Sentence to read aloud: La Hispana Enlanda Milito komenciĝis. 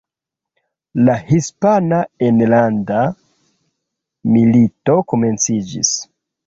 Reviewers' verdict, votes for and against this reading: accepted, 2, 0